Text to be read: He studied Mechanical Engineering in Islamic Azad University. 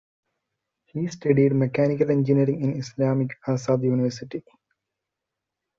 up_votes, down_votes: 3, 2